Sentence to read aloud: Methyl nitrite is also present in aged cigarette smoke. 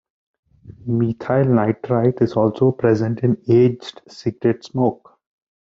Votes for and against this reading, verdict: 0, 2, rejected